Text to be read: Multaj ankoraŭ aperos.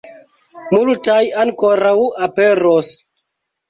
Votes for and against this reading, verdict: 0, 2, rejected